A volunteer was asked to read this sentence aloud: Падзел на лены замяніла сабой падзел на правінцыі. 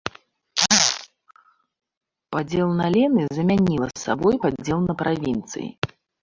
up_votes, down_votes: 1, 2